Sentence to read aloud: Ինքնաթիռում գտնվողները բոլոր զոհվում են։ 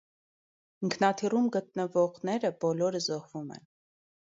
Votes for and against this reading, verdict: 2, 1, accepted